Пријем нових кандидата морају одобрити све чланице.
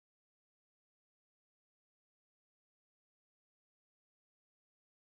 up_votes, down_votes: 0, 2